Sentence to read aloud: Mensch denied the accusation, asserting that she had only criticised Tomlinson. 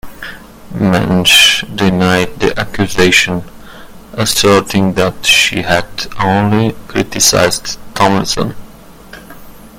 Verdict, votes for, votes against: rejected, 1, 2